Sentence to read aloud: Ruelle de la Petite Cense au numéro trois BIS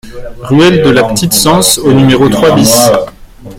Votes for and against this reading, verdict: 0, 2, rejected